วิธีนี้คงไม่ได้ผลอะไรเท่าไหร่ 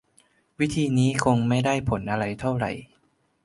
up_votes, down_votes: 3, 0